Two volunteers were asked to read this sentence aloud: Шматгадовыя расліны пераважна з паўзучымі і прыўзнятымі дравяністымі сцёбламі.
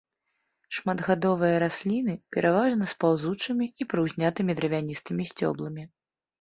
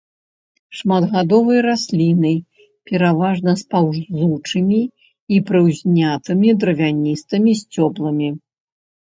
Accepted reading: first